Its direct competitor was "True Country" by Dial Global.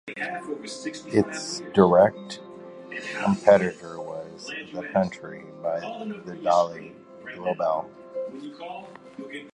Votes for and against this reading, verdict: 1, 2, rejected